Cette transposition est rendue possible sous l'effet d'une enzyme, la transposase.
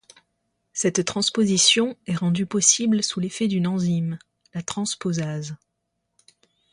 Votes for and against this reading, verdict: 2, 0, accepted